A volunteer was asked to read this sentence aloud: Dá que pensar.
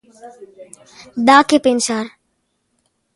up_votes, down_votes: 2, 0